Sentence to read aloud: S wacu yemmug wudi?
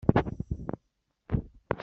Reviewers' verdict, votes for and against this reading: rejected, 1, 2